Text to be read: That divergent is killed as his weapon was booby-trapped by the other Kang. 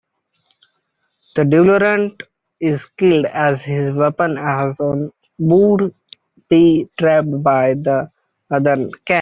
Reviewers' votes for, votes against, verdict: 0, 2, rejected